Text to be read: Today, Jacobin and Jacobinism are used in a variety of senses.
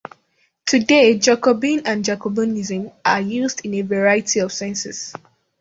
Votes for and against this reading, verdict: 2, 0, accepted